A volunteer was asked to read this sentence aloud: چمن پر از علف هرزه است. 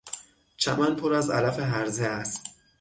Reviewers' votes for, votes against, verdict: 6, 0, accepted